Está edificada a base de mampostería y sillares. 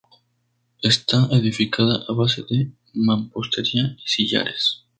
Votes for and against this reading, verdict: 2, 2, rejected